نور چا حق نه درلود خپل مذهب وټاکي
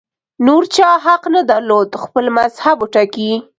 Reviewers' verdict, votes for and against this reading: accepted, 2, 0